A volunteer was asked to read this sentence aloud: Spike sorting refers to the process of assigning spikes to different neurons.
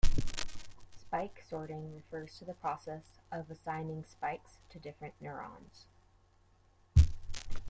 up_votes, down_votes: 2, 0